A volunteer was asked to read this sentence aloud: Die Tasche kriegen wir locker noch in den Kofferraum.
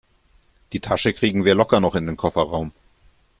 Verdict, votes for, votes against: accepted, 2, 0